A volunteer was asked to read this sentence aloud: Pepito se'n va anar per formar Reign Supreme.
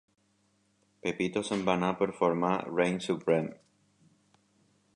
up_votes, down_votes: 2, 0